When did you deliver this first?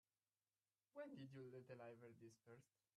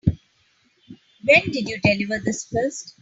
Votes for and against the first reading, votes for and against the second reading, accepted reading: 1, 2, 2, 0, second